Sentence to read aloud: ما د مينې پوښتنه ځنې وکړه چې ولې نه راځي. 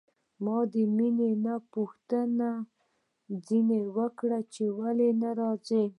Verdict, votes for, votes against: rejected, 0, 2